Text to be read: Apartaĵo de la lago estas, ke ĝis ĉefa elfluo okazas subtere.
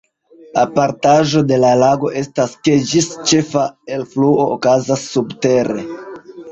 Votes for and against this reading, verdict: 1, 2, rejected